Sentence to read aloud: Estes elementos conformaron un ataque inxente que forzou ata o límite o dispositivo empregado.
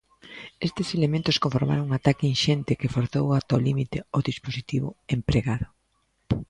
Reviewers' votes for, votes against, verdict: 2, 0, accepted